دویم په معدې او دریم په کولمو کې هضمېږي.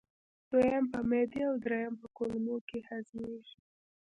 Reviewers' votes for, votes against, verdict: 0, 2, rejected